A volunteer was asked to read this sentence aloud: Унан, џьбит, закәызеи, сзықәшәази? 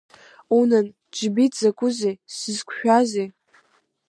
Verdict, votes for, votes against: accepted, 2, 1